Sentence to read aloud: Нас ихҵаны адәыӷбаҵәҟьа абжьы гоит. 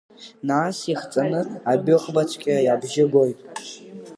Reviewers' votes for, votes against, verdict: 0, 2, rejected